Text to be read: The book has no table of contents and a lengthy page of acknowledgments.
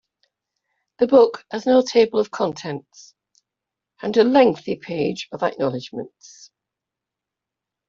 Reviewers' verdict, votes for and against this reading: accepted, 2, 0